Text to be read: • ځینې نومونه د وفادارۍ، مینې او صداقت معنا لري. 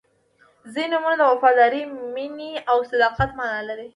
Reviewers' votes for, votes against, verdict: 2, 0, accepted